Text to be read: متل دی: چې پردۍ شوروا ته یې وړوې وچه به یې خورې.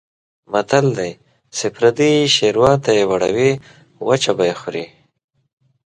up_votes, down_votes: 2, 0